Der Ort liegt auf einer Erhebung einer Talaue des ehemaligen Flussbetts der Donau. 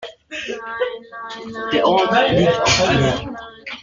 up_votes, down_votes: 0, 2